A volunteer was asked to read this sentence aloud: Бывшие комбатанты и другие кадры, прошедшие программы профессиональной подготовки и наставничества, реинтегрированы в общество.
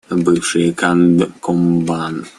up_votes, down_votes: 0, 2